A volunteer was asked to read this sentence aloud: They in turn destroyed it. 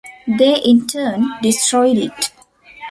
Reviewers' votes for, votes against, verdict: 2, 0, accepted